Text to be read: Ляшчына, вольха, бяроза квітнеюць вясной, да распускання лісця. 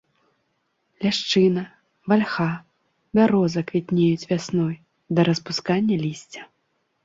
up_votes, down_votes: 1, 2